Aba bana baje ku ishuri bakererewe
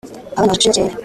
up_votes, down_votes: 0, 2